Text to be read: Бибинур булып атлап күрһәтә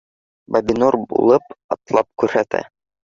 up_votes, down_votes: 0, 2